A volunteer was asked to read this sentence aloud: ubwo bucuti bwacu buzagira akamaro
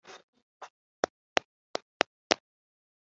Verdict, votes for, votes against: rejected, 0, 3